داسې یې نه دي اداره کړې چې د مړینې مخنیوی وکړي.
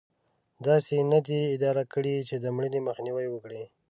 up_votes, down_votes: 3, 0